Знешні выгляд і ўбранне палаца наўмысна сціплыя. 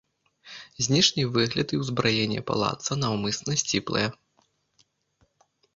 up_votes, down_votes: 0, 2